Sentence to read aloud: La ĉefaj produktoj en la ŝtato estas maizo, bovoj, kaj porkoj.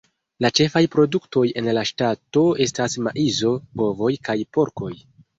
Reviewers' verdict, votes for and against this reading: rejected, 1, 2